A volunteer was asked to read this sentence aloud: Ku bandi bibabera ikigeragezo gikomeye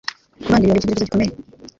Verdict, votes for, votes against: rejected, 1, 2